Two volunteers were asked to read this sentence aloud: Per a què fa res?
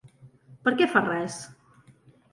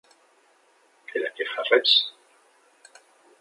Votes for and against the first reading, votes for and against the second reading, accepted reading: 2, 0, 0, 2, first